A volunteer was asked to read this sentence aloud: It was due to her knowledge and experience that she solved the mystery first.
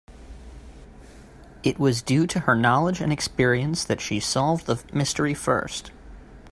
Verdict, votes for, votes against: accepted, 3, 0